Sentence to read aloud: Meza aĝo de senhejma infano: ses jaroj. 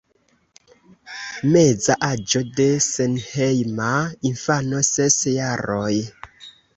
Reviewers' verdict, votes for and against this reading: accepted, 2, 0